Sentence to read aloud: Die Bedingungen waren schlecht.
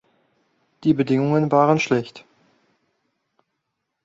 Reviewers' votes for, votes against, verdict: 2, 0, accepted